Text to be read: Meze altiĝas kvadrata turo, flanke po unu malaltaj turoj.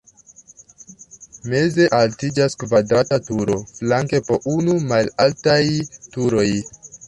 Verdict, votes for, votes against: accepted, 2, 1